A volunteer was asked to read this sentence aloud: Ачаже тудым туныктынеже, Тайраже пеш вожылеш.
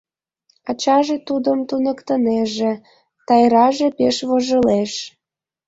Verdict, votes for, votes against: accepted, 2, 0